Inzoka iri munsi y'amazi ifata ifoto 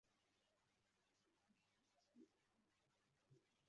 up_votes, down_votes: 0, 2